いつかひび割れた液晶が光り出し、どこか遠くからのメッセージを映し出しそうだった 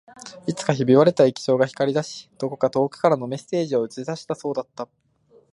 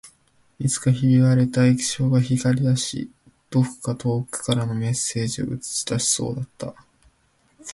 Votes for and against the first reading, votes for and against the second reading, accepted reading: 1, 2, 2, 0, second